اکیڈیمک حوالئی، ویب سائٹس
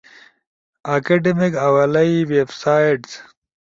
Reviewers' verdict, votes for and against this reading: accepted, 2, 0